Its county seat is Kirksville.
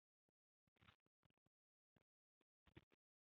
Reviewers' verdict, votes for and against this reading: rejected, 0, 2